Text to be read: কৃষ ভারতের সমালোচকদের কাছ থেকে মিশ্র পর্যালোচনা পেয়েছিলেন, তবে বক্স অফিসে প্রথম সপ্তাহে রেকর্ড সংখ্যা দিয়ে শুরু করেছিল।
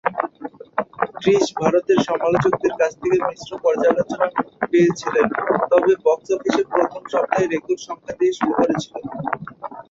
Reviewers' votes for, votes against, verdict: 1, 2, rejected